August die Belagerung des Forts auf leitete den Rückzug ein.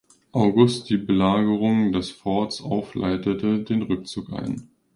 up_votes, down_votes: 2, 0